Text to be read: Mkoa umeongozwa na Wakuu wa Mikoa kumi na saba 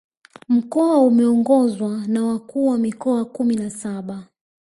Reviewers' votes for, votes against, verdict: 1, 2, rejected